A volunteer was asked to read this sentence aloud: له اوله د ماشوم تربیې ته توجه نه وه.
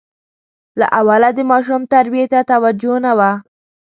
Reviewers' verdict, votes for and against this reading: accepted, 3, 0